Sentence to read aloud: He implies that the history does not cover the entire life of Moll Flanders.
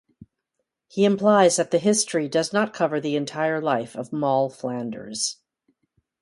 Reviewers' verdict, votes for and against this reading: accepted, 2, 0